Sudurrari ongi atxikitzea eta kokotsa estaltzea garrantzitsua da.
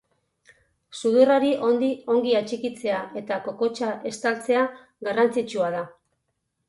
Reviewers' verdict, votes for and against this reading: rejected, 0, 4